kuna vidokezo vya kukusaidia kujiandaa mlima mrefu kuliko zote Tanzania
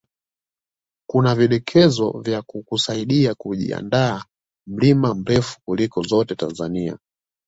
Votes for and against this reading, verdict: 2, 0, accepted